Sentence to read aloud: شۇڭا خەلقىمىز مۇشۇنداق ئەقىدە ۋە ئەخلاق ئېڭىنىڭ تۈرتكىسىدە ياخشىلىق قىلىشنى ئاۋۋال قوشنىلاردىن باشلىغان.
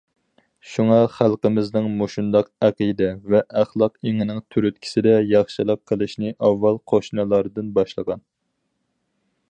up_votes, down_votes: 2, 4